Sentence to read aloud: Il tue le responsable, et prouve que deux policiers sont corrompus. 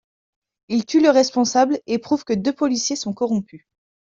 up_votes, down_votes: 2, 0